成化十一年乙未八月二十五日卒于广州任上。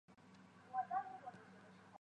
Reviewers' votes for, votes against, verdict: 0, 3, rejected